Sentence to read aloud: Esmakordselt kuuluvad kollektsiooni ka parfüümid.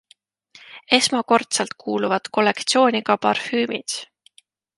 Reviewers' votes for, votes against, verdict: 2, 0, accepted